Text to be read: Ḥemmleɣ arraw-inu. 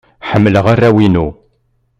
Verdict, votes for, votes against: accepted, 2, 0